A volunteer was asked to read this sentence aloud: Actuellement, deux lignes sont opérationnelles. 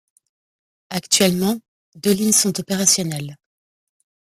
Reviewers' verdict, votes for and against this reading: rejected, 0, 2